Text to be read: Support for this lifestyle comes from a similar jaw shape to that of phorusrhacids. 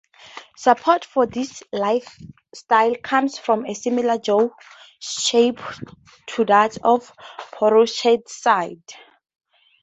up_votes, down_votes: 0, 2